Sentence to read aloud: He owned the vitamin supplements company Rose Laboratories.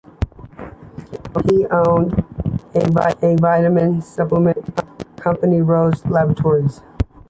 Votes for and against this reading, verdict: 0, 2, rejected